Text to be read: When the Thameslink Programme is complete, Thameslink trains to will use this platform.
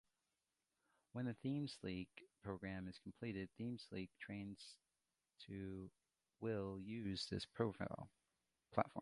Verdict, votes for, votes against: rejected, 0, 2